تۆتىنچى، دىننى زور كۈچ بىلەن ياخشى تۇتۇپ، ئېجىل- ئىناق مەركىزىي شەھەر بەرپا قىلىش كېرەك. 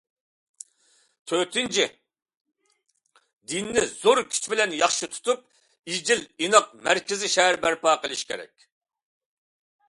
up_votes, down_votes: 2, 0